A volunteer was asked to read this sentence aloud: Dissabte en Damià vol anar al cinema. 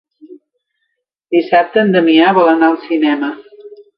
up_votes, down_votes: 2, 0